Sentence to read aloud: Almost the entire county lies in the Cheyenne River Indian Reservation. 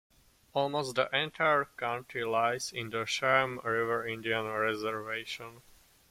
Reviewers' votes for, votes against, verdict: 2, 1, accepted